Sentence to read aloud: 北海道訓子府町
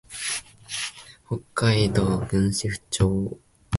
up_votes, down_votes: 13, 3